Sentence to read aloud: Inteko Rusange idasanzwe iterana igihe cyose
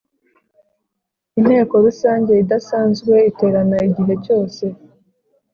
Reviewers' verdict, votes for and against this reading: accepted, 2, 0